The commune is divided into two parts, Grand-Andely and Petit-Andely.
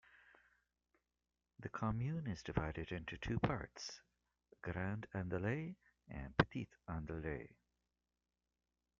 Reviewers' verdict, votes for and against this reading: accepted, 2, 0